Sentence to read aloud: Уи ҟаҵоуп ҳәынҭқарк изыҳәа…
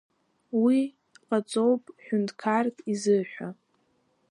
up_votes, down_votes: 0, 2